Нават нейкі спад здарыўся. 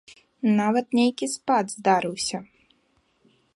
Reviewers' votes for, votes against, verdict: 2, 0, accepted